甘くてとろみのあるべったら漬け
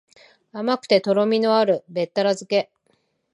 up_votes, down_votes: 2, 0